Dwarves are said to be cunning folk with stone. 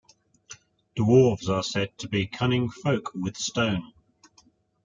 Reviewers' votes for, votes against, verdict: 2, 0, accepted